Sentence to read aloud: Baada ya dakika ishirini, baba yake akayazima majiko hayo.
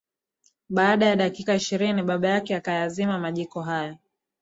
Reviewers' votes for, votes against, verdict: 0, 2, rejected